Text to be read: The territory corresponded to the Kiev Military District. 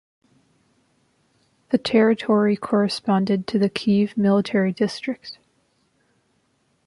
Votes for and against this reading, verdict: 0, 2, rejected